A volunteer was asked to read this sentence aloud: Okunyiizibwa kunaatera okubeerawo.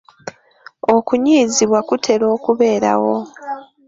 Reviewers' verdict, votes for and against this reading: rejected, 0, 2